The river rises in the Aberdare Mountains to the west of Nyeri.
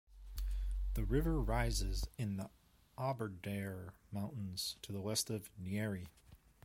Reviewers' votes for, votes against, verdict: 0, 2, rejected